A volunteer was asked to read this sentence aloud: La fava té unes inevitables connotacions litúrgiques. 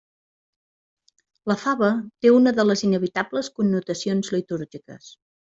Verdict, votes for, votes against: rejected, 0, 2